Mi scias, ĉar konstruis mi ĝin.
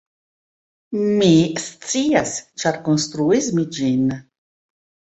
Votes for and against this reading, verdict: 2, 1, accepted